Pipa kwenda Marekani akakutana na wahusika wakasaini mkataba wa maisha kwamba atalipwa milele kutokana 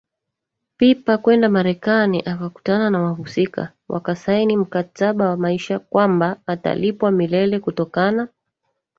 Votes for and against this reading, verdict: 0, 2, rejected